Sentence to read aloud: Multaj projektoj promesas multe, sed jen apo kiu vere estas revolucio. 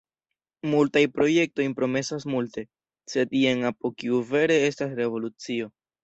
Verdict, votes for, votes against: accepted, 2, 1